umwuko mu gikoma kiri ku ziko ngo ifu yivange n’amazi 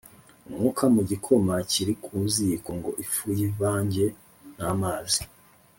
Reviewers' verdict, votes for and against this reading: rejected, 0, 2